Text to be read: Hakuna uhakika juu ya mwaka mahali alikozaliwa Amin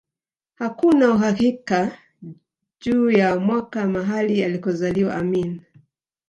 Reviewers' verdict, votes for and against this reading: rejected, 1, 2